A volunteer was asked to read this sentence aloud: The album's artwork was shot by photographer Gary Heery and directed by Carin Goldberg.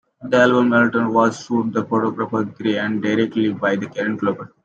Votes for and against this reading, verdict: 1, 3, rejected